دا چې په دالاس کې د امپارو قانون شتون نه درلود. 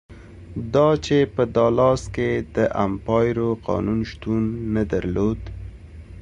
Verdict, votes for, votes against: accepted, 2, 0